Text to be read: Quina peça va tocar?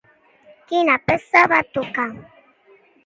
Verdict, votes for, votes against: accepted, 2, 0